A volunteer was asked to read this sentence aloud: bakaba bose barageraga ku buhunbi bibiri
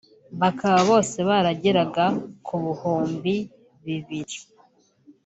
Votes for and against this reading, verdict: 2, 0, accepted